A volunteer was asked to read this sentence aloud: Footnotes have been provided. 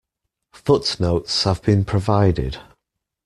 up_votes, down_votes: 2, 0